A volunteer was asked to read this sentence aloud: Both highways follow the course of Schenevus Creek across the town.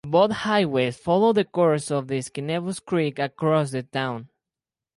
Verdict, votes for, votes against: accepted, 4, 0